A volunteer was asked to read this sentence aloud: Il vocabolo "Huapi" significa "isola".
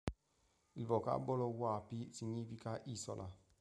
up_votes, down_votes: 3, 0